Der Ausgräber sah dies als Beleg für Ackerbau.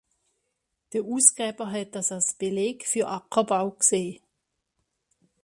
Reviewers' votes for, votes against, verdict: 0, 2, rejected